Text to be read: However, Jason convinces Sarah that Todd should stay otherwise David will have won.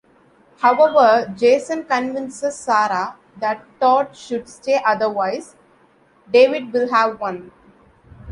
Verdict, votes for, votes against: accepted, 2, 0